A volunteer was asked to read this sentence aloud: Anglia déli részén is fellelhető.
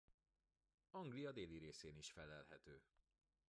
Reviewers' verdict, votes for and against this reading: rejected, 1, 2